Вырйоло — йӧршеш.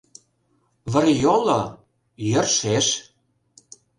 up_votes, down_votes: 0, 2